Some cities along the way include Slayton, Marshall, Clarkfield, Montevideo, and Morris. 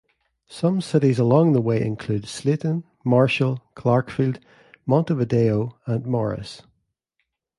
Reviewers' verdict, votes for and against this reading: accepted, 2, 0